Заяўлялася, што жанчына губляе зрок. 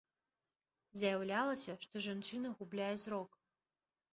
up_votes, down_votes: 2, 0